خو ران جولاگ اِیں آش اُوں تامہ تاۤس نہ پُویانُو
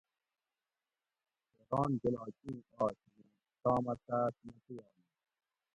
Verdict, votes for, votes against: rejected, 0, 2